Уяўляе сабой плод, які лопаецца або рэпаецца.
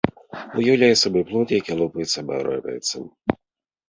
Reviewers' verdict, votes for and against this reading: rejected, 1, 3